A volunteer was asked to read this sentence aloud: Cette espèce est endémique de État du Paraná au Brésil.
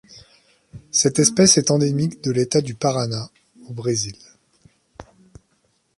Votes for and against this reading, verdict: 1, 2, rejected